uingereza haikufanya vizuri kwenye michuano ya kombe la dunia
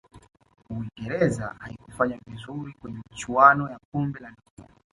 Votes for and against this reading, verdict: 3, 0, accepted